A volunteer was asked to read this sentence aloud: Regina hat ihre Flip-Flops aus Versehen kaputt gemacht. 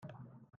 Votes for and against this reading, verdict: 0, 2, rejected